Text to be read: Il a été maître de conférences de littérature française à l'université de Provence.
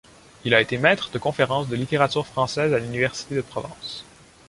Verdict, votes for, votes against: accepted, 2, 0